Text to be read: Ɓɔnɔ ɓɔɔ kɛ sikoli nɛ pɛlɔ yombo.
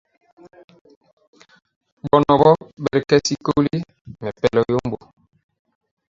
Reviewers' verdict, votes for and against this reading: rejected, 0, 2